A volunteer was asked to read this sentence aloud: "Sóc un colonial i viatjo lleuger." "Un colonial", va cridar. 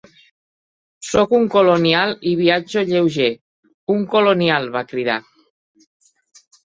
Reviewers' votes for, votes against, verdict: 3, 0, accepted